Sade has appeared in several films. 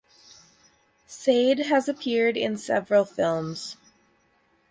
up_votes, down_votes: 6, 0